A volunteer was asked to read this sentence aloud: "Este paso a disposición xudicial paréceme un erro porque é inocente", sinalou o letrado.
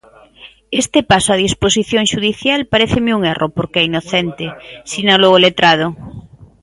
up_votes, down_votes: 2, 0